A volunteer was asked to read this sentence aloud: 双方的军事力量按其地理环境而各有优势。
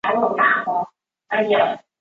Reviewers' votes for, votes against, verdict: 0, 3, rejected